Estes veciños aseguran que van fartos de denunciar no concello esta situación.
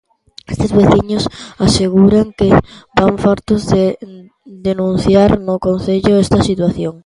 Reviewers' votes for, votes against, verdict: 1, 2, rejected